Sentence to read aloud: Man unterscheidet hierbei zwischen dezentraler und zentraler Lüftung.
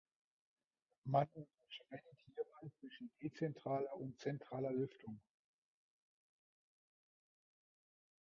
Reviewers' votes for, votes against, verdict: 0, 2, rejected